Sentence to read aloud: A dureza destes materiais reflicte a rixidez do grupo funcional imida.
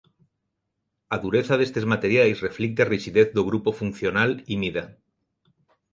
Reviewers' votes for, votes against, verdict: 2, 1, accepted